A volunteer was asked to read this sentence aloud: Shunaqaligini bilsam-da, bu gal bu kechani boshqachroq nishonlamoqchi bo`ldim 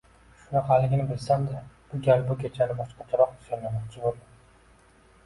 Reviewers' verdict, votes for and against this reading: accepted, 2, 1